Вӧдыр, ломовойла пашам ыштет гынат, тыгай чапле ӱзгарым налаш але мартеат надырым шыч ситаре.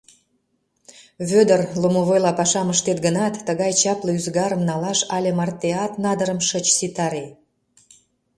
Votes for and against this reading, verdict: 2, 0, accepted